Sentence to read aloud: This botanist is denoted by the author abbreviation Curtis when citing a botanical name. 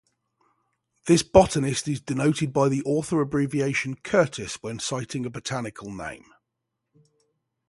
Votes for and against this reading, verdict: 3, 0, accepted